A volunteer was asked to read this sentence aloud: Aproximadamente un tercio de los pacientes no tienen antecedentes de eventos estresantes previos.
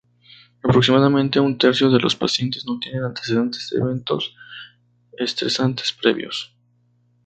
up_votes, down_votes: 0, 2